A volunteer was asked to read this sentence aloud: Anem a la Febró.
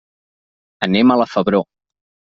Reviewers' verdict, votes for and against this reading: accepted, 2, 0